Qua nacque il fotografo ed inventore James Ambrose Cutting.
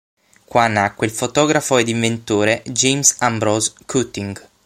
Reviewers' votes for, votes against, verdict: 6, 0, accepted